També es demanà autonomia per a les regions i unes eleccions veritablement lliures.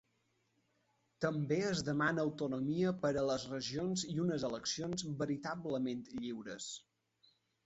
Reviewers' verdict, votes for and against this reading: rejected, 3, 4